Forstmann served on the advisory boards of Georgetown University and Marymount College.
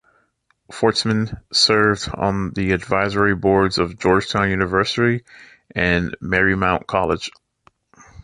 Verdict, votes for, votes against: accepted, 2, 1